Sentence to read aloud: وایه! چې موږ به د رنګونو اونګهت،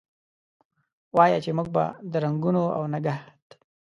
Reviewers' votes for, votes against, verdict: 2, 0, accepted